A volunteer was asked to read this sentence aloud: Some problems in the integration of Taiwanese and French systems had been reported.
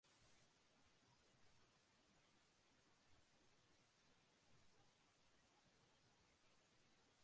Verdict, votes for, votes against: rejected, 0, 2